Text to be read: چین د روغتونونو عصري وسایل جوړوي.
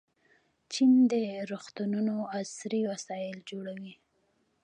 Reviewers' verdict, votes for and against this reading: rejected, 1, 2